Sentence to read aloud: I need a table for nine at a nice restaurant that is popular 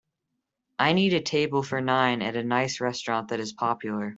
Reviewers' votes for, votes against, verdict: 2, 0, accepted